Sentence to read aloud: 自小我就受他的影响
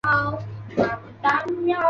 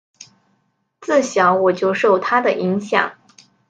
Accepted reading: second